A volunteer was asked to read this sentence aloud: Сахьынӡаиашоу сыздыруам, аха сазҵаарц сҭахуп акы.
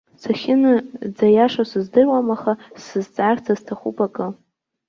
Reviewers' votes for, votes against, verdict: 0, 2, rejected